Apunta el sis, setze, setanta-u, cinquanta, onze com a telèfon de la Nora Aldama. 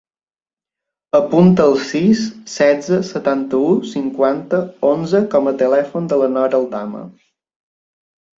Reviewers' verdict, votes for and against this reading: accepted, 3, 0